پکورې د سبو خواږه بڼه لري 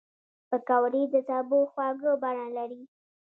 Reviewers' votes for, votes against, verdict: 1, 2, rejected